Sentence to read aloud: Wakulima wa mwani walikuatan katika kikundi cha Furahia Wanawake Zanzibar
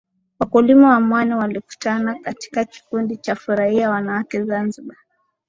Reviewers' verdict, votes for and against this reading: accepted, 2, 1